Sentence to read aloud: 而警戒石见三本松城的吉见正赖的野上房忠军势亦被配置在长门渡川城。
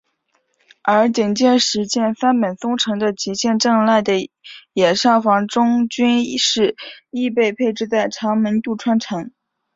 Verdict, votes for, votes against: accepted, 5, 0